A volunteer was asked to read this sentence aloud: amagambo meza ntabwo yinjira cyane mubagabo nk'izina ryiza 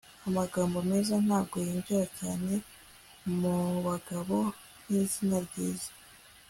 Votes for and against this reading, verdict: 2, 0, accepted